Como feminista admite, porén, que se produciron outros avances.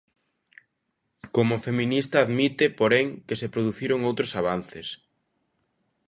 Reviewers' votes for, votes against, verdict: 2, 0, accepted